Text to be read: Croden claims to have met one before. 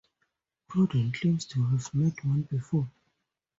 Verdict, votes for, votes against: rejected, 0, 2